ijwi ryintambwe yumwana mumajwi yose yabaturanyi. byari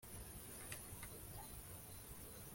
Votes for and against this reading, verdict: 0, 2, rejected